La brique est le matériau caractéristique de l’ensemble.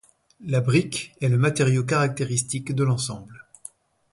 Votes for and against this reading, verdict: 2, 0, accepted